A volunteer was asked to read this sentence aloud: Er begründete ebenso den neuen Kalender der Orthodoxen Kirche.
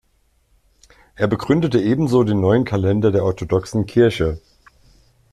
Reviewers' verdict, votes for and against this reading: accepted, 2, 0